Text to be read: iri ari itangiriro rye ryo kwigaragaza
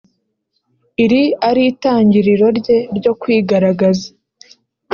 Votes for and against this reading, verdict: 0, 2, rejected